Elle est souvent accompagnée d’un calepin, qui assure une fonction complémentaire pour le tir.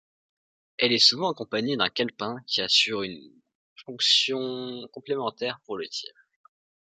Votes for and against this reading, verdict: 2, 1, accepted